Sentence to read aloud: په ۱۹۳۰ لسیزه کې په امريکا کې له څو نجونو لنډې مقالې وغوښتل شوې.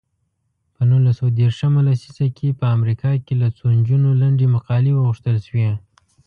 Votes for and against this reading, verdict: 0, 2, rejected